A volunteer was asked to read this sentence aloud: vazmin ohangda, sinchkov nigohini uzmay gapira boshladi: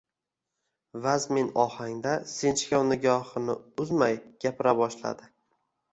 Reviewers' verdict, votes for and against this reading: accepted, 2, 1